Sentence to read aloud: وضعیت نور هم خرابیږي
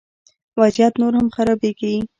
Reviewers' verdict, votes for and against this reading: rejected, 1, 2